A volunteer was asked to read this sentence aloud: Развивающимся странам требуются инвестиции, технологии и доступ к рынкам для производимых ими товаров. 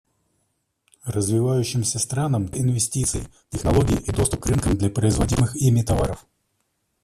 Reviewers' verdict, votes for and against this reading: rejected, 0, 2